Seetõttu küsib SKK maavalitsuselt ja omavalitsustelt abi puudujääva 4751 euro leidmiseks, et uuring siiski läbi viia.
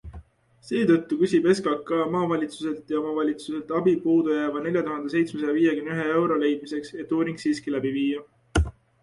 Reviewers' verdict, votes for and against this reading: rejected, 0, 2